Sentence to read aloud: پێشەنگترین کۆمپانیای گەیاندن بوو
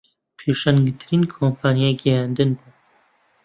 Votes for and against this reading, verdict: 2, 0, accepted